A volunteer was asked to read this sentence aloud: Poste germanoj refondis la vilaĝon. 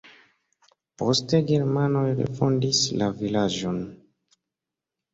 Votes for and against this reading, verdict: 2, 0, accepted